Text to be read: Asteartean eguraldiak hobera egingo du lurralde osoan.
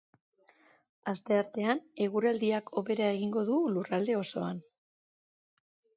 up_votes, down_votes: 2, 0